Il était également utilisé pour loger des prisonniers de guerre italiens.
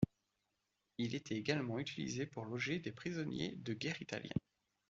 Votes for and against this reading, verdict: 2, 0, accepted